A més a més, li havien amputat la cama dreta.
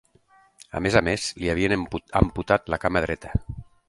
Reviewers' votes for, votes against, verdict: 0, 3, rejected